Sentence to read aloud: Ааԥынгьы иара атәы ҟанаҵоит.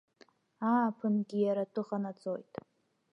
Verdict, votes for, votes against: accepted, 2, 0